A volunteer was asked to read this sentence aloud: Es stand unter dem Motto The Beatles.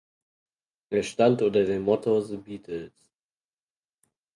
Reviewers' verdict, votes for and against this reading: accepted, 4, 2